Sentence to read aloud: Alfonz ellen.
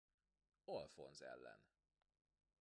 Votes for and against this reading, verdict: 2, 1, accepted